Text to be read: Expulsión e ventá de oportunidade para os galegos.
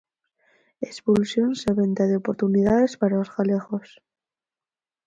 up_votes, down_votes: 0, 4